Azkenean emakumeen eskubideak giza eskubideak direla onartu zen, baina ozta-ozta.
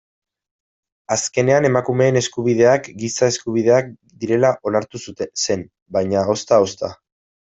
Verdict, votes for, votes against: rejected, 0, 2